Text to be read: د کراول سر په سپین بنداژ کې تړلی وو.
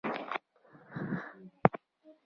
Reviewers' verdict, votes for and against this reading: rejected, 0, 2